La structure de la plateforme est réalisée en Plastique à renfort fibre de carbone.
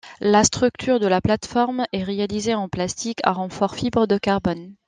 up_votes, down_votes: 1, 2